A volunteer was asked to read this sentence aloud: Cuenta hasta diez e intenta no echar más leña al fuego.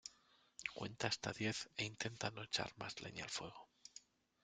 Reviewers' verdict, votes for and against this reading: accepted, 2, 0